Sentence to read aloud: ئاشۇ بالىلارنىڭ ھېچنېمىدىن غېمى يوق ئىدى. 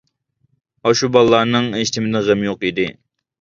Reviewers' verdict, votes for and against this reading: accepted, 2, 0